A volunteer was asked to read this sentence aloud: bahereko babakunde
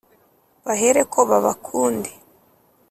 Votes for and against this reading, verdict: 2, 0, accepted